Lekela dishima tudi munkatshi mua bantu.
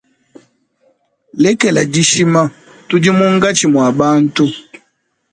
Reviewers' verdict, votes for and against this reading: accepted, 2, 0